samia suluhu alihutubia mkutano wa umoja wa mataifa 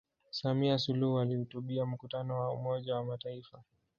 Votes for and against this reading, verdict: 1, 2, rejected